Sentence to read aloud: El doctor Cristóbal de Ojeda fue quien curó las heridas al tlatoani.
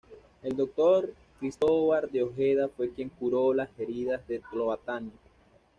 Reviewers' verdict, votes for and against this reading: rejected, 1, 2